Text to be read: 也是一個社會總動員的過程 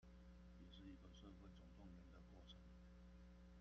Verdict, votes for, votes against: rejected, 0, 2